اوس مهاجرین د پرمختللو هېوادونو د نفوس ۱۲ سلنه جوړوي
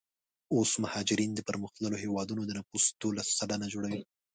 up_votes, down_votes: 0, 2